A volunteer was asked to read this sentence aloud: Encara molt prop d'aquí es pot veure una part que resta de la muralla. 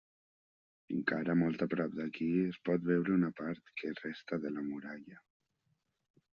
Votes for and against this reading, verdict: 0, 2, rejected